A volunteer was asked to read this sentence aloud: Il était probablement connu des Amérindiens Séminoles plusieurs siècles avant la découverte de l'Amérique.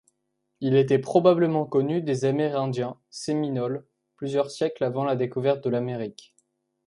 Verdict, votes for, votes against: accepted, 2, 0